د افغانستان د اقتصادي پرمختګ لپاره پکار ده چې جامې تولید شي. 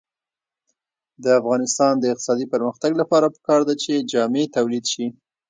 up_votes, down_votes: 1, 2